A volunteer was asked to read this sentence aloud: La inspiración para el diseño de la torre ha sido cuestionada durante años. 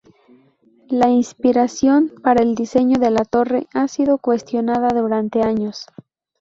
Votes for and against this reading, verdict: 2, 0, accepted